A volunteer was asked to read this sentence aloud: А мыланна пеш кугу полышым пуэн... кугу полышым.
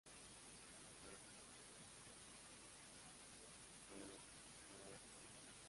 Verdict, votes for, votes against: rejected, 0, 2